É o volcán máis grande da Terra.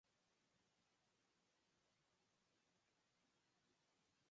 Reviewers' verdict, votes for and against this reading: rejected, 0, 4